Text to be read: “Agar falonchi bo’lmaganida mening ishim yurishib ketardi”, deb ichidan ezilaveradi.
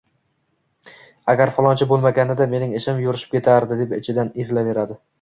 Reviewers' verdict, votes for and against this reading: accepted, 2, 0